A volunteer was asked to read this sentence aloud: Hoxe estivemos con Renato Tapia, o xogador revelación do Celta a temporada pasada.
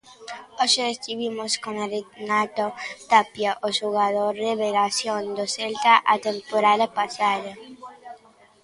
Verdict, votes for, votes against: rejected, 0, 2